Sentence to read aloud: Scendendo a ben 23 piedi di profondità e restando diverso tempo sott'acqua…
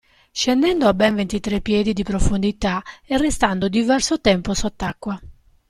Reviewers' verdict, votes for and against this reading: rejected, 0, 2